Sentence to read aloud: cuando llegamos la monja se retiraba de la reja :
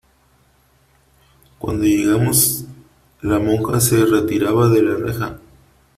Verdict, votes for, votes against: accepted, 3, 1